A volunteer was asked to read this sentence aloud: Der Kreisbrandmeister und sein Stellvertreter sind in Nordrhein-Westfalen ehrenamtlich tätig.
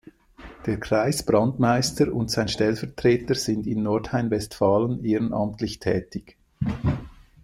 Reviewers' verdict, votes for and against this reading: accepted, 2, 0